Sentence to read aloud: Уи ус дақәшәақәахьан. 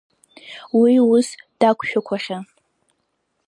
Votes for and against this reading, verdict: 2, 0, accepted